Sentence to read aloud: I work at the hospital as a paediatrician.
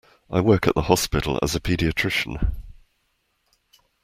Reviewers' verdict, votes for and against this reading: accepted, 2, 0